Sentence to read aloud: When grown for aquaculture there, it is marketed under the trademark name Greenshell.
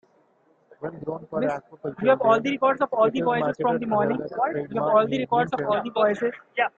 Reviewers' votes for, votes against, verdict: 0, 2, rejected